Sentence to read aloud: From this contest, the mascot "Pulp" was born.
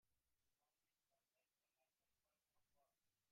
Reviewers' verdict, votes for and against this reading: rejected, 0, 2